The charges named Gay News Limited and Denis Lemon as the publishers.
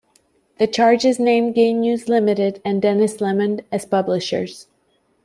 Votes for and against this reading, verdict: 0, 2, rejected